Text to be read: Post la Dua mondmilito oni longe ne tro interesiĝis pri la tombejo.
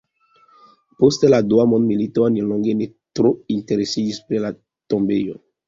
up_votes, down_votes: 3, 0